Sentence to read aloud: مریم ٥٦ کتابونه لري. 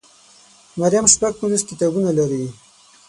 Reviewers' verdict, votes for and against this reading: rejected, 0, 2